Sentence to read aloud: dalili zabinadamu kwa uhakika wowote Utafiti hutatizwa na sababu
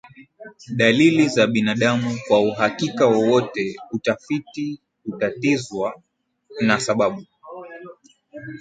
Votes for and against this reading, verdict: 2, 0, accepted